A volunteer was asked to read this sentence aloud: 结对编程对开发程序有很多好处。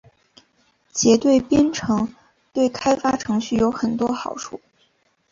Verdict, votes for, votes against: accepted, 2, 0